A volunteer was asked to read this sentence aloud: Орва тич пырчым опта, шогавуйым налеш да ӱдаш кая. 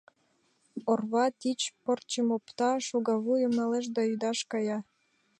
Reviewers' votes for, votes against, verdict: 2, 0, accepted